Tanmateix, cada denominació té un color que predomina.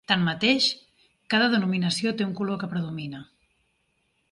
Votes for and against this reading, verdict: 3, 0, accepted